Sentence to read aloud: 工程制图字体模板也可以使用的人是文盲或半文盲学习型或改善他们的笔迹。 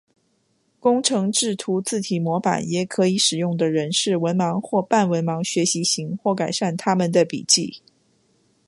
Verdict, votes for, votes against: accepted, 2, 0